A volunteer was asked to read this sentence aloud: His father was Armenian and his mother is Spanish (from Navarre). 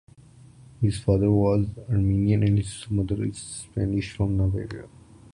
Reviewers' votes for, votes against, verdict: 2, 0, accepted